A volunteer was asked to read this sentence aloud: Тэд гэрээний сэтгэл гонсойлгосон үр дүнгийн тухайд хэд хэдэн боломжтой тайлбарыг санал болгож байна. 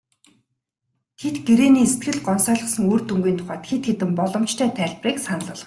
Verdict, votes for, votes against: rejected, 1, 2